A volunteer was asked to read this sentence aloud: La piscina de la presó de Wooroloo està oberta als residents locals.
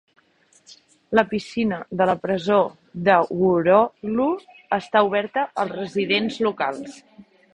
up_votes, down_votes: 0, 2